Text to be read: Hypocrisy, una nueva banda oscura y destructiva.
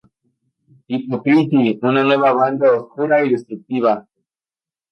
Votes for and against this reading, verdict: 0, 2, rejected